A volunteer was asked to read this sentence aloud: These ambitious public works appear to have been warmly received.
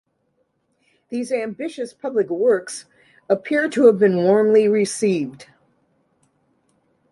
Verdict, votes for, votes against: accepted, 2, 0